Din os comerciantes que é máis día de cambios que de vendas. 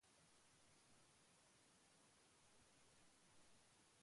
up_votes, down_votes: 0, 2